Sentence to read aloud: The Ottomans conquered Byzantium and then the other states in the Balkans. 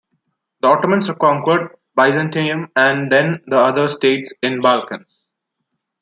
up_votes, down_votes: 1, 2